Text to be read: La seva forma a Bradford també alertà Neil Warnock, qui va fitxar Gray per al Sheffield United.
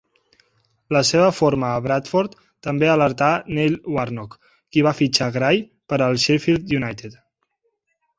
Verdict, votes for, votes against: accepted, 2, 0